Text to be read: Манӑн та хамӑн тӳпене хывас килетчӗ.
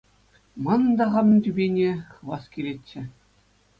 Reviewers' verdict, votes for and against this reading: accepted, 2, 0